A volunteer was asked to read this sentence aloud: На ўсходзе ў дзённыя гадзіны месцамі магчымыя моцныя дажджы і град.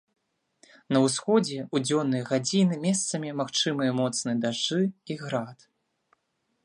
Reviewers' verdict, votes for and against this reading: accepted, 2, 0